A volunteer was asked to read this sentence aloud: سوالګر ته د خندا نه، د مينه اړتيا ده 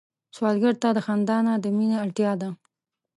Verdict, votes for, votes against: rejected, 1, 2